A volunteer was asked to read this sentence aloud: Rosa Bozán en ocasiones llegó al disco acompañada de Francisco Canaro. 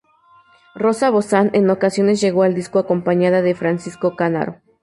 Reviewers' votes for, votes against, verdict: 2, 0, accepted